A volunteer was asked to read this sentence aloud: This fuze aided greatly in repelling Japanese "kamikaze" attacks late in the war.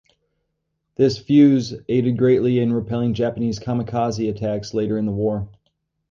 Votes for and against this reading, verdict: 2, 2, rejected